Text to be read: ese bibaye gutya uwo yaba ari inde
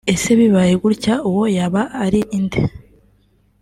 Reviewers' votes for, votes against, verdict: 3, 0, accepted